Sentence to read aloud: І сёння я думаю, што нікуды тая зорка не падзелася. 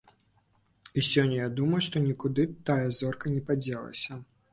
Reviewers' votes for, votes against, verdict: 2, 0, accepted